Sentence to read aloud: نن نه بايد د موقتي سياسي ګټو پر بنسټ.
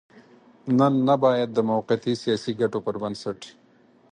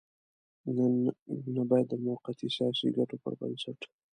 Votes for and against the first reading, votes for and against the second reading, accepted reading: 4, 0, 0, 2, first